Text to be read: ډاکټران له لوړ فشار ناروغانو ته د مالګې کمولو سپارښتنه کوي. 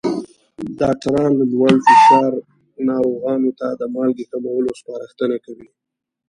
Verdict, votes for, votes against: rejected, 1, 2